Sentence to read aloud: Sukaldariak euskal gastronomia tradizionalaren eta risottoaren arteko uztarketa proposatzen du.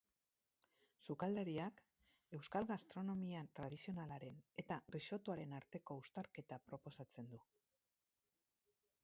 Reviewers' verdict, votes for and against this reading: accepted, 2, 0